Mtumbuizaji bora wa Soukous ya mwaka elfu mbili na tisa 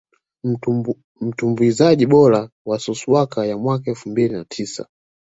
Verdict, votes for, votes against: rejected, 0, 2